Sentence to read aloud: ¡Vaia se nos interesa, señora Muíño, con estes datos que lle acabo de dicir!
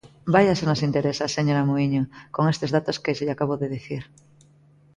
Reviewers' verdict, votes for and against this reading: accepted, 2, 0